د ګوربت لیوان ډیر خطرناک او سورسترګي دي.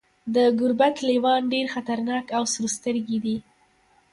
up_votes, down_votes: 2, 1